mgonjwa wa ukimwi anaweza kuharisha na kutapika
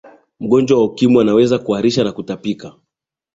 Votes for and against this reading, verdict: 2, 0, accepted